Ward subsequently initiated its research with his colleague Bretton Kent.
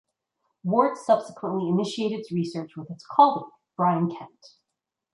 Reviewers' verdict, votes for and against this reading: rejected, 0, 2